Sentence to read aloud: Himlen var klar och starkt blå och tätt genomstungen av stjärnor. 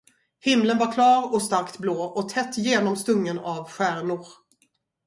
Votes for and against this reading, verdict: 2, 2, rejected